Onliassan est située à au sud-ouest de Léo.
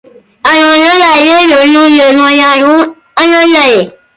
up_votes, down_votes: 0, 2